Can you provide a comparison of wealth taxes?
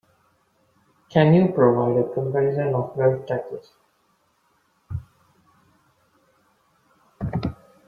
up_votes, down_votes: 2, 1